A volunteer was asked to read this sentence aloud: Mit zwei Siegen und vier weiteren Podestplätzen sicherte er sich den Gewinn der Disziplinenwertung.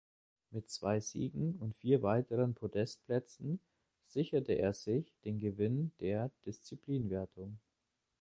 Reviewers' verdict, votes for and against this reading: rejected, 1, 2